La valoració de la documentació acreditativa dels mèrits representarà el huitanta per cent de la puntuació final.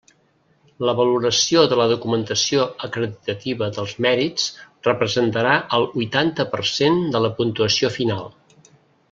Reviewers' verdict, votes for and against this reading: rejected, 0, 2